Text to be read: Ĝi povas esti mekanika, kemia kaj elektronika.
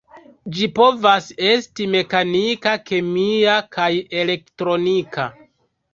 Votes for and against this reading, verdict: 2, 0, accepted